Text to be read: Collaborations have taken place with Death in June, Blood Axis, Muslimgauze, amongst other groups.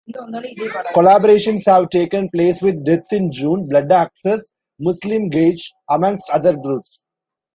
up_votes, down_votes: 0, 2